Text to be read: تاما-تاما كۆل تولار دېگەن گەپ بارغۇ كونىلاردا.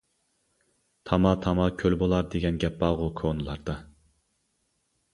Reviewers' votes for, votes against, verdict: 1, 2, rejected